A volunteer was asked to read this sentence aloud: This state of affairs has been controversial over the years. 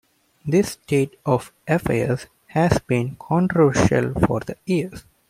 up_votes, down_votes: 1, 2